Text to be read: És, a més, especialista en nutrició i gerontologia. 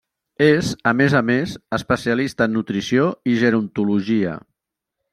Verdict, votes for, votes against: rejected, 1, 2